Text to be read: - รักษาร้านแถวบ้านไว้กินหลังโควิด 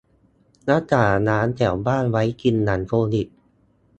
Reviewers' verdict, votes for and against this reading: rejected, 0, 2